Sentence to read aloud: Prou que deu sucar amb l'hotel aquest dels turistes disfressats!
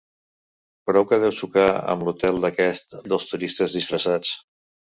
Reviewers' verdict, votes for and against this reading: rejected, 1, 3